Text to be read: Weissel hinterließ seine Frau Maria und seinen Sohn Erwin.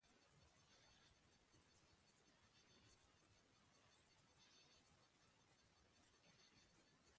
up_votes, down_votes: 0, 2